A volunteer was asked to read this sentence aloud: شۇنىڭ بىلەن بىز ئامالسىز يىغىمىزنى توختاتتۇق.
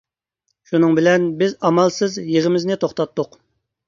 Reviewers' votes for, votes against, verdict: 2, 0, accepted